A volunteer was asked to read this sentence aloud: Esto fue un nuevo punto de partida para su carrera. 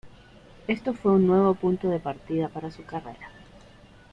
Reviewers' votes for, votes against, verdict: 2, 0, accepted